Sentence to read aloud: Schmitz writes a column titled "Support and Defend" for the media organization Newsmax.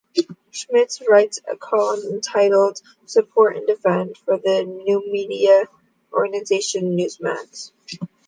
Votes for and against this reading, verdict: 0, 2, rejected